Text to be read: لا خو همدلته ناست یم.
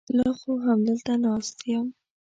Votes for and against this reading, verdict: 2, 0, accepted